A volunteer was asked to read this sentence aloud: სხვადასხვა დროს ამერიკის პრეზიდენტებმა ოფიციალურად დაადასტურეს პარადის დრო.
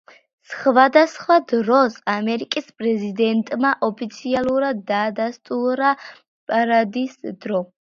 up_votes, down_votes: 0, 2